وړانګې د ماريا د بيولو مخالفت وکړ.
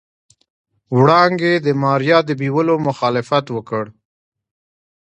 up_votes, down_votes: 2, 0